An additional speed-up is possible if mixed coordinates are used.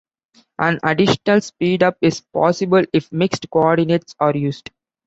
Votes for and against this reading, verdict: 2, 1, accepted